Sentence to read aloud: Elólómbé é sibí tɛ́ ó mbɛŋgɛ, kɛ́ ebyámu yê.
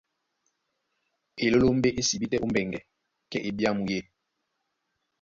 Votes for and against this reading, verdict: 2, 0, accepted